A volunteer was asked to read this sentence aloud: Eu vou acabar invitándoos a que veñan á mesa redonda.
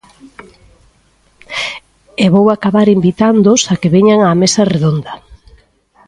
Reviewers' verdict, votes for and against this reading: rejected, 1, 2